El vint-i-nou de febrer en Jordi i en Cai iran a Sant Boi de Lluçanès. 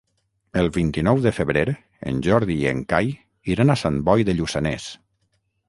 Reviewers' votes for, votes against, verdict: 0, 3, rejected